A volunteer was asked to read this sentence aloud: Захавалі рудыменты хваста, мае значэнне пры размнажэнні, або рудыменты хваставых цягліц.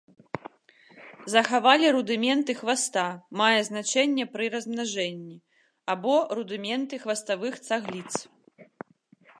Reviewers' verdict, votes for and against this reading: rejected, 1, 2